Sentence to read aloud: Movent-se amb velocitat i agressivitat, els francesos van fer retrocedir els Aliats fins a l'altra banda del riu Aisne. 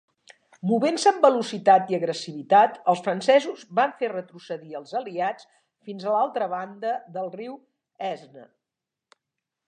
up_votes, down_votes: 2, 0